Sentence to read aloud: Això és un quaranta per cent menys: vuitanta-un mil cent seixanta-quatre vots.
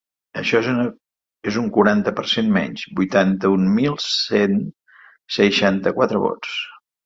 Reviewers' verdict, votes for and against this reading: rejected, 2, 3